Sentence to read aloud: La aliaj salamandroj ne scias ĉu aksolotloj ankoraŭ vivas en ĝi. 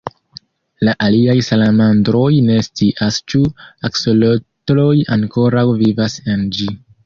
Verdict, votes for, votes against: accepted, 2, 0